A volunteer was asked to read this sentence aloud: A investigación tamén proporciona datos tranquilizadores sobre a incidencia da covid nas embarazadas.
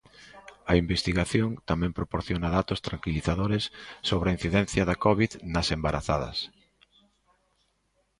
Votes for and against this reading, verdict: 2, 0, accepted